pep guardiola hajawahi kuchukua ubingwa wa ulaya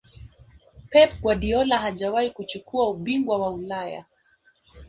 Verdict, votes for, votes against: accepted, 6, 1